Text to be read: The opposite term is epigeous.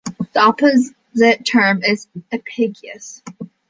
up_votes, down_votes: 1, 2